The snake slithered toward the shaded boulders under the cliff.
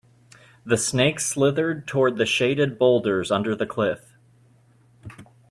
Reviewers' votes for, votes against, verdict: 2, 0, accepted